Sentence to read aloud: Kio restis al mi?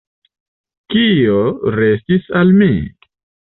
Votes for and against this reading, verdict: 2, 0, accepted